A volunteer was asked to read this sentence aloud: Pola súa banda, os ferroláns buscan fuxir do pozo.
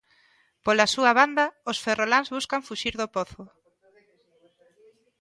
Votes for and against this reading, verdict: 1, 2, rejected